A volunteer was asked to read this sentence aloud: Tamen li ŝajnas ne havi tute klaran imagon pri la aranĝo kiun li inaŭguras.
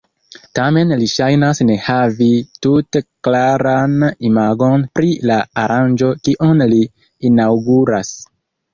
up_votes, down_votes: 2, 0